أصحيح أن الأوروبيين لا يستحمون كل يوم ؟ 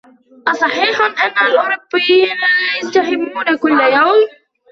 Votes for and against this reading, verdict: 2, 1, accepted